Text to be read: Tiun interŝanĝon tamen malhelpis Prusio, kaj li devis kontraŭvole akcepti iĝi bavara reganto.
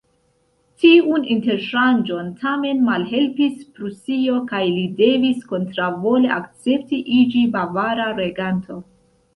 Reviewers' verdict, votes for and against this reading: accepted, 2, 0